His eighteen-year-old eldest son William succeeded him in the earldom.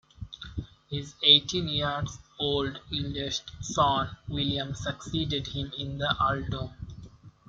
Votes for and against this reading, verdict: 2, 0, accepted